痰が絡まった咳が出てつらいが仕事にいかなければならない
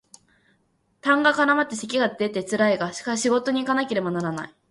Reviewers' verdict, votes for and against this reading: accepted, 2, 0